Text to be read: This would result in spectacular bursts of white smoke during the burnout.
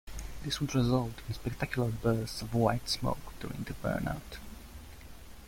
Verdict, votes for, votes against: rejected, 1, 2